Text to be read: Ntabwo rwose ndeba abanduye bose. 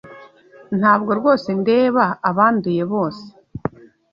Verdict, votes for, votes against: accepted, 2, 0